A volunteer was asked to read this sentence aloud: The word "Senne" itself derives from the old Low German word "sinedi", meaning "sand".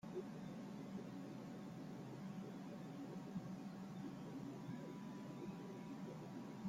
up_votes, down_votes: 0, 2